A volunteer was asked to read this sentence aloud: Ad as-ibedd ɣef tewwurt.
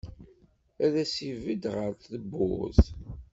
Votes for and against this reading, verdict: 2, 0, accepted